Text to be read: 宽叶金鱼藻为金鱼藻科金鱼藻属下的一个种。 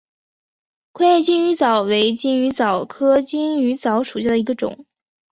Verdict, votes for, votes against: rejected, 0, 2